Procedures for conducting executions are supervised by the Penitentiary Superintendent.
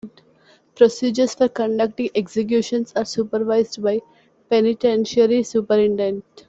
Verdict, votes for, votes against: accepted, 2, 1